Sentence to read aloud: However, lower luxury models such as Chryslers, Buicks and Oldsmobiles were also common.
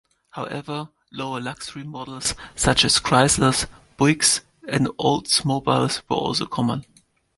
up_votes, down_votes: 2, 1